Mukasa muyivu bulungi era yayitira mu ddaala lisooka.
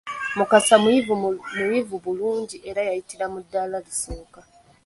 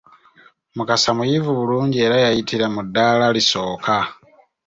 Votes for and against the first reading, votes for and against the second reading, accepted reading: 0, 2, 2, 0, second